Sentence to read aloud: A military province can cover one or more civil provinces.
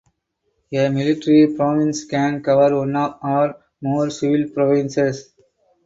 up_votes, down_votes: 0, 2